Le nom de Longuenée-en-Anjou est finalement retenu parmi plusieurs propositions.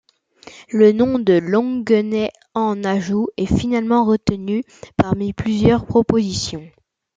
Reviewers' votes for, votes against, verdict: 1, 2, rejected